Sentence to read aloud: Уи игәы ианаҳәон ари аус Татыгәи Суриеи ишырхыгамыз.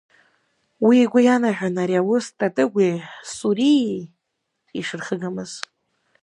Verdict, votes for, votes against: rejected, 0, 2